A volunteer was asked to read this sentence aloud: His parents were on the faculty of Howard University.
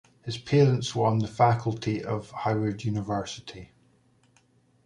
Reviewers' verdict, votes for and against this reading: accepted, 2, 0